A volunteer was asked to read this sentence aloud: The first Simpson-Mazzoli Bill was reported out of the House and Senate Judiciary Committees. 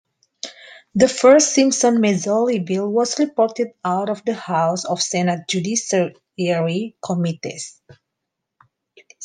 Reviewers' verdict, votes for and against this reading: rejected, 0, 2